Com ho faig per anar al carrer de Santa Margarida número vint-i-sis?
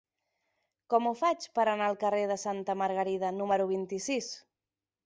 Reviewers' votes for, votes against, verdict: 3, 0, accepted